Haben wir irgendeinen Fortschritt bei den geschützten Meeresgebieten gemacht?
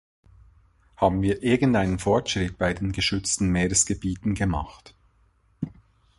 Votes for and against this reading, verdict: 2, 0, accepted